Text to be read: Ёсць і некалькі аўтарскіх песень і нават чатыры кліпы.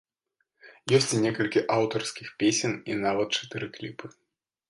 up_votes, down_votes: 2, 0